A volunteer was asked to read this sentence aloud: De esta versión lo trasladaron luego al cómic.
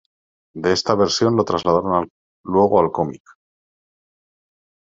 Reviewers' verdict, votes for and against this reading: rejected, 1, 2